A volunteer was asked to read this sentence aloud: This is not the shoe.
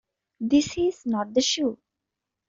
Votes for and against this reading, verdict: 2, 0, accepted